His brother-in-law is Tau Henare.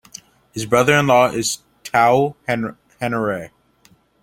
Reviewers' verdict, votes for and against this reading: accepted, 2, 0